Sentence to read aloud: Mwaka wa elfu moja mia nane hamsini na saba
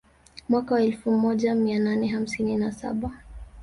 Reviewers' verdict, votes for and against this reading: accepted, 2, 0